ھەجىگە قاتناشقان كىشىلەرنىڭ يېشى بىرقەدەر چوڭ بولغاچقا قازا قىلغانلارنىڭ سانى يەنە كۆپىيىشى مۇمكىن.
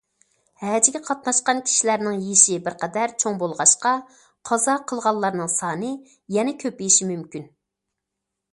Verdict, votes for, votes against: rejected, 0, 2